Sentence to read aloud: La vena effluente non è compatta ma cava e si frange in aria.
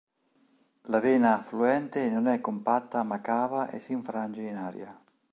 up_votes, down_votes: 2, 3